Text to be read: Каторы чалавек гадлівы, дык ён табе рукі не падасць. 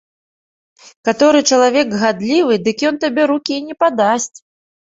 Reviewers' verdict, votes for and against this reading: accepted, 2, 0